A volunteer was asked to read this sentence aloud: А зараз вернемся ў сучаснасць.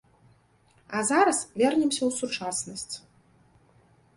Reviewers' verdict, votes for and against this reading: accepted, 2, 0